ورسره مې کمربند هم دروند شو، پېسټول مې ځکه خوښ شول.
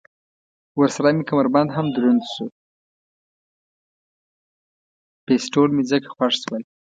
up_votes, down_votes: 0, 2